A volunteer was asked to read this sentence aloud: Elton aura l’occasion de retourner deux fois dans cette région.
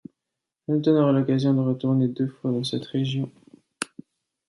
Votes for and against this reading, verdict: 2, 0, accepted